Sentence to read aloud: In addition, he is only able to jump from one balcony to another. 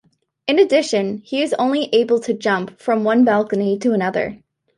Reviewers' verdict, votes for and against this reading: accepted, 2, 0